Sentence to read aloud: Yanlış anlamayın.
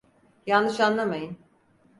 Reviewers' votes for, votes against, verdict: 4, 0, accepted